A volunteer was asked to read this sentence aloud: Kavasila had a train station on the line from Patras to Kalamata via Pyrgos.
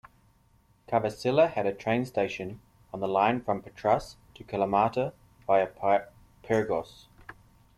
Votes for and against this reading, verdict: 0, 2, rejected